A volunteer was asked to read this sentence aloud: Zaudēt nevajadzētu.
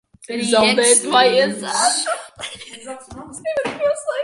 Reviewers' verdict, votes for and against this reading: rejected, 0, 2